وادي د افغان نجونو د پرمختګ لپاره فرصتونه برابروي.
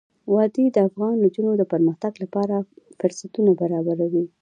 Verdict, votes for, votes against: accepted, 2, 0